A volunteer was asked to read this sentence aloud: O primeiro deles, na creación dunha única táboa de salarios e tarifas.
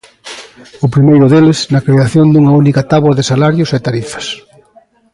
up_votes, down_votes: 2, 0